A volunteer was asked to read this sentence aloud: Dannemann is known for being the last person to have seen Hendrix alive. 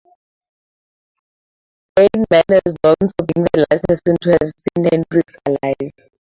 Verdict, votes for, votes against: rejected, 0, 2